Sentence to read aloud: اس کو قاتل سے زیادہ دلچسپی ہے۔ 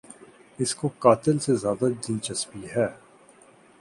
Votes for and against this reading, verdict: 2, 0, accepted